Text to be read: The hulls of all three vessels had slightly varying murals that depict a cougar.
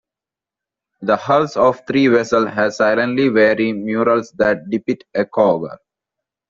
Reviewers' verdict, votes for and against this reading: rejected, 0, 2